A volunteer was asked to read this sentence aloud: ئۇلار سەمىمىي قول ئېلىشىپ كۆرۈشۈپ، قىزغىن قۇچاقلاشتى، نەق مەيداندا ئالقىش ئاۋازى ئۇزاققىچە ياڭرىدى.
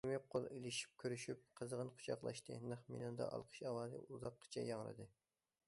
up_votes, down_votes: 0, 2